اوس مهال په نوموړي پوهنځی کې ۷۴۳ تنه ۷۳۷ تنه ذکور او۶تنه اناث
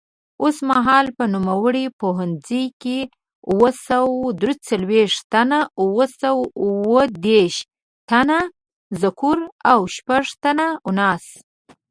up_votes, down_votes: 0, 2